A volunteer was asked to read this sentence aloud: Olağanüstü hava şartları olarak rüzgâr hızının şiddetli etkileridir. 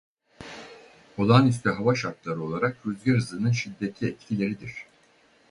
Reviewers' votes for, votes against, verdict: 0, 4, rejected